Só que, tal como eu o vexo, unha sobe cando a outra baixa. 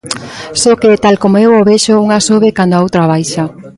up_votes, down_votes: 2, 0